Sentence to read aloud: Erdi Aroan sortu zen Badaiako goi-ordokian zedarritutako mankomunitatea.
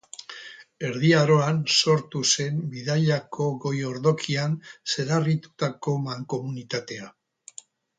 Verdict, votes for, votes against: rejected, 0, 4